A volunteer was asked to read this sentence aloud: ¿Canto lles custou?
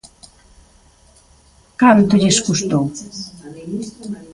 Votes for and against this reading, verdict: 1, 2, rejected